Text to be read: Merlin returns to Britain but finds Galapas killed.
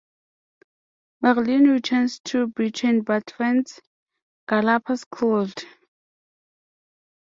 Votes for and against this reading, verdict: 0, 2, rejected